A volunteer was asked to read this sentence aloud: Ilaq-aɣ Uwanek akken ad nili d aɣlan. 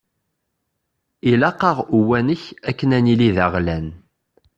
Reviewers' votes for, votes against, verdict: 2, 0, accepted